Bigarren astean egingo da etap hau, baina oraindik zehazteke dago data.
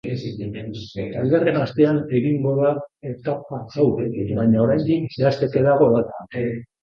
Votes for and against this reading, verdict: 0, 2, rejected